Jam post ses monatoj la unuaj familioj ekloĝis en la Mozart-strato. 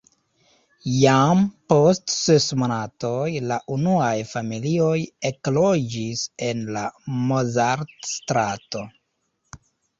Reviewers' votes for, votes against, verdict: 2, 0, accepted